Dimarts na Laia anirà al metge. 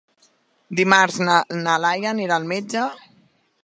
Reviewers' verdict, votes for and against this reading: rejected, 0, 2